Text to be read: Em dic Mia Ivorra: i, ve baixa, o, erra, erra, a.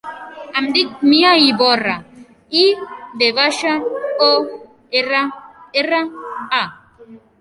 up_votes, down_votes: 3, 0